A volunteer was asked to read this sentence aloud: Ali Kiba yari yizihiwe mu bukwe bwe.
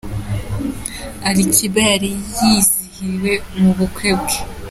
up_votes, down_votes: 2, 0